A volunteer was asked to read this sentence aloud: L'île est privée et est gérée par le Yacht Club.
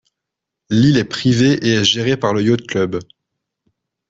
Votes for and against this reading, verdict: 0, 2, rejected